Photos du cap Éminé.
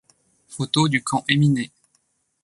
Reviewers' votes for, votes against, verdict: 1, 2, rejected